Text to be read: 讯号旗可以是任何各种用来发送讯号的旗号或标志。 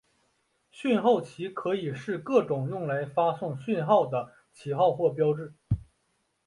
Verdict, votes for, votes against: accepted, 2, 0